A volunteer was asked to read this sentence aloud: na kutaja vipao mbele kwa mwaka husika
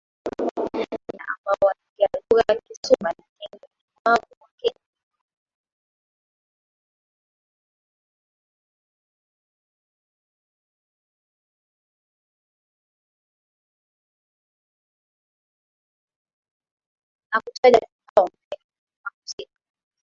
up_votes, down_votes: 0, 13